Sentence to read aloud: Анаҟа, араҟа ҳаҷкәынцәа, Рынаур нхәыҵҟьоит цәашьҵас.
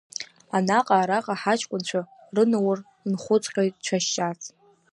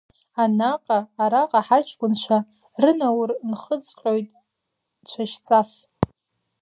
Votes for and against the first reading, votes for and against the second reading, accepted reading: 1, 2, 2, 1, second